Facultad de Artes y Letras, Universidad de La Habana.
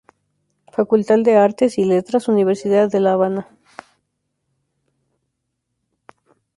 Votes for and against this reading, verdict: 0, 2, rejected